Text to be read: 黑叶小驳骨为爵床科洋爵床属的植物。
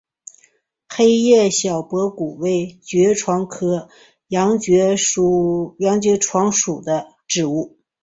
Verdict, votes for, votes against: rejected, 0, 2